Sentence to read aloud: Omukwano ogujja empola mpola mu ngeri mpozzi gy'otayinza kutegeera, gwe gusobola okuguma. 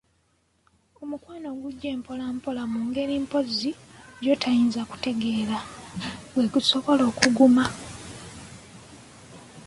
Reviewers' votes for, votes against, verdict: 0, 2, rejected